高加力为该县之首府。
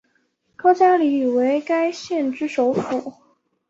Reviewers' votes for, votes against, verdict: 2, 0, accepted